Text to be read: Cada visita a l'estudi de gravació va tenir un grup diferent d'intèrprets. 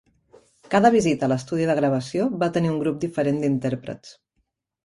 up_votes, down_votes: 3, 0